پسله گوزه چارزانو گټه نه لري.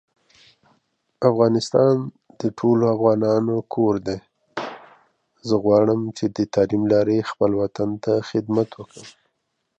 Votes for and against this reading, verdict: 0, 2, rejected